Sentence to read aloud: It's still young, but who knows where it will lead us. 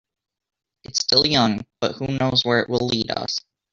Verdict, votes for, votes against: accepted, 2, 0